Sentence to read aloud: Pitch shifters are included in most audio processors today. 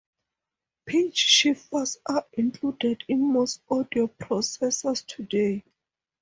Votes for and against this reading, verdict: 4, 0, accepted